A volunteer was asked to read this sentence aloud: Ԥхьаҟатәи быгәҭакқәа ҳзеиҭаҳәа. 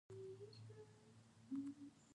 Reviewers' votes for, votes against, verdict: 0, 2, rejected